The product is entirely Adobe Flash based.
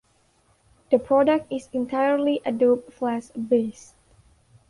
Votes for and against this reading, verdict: 1, 2, rejected